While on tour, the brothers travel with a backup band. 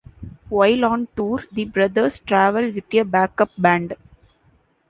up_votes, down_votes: 2, 1